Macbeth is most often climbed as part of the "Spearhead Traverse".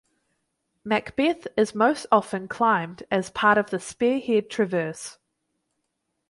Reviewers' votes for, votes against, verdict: 2, 0, accepted